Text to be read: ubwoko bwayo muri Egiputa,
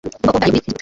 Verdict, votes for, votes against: rejected, 1, 2